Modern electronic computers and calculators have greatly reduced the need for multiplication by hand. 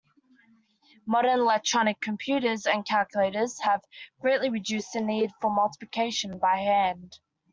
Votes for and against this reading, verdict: 2, 0, accepted